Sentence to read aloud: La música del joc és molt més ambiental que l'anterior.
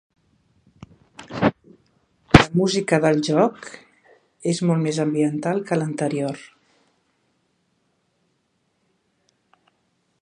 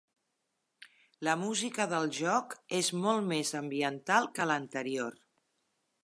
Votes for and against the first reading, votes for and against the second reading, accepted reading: 0, 2, 4, 0, second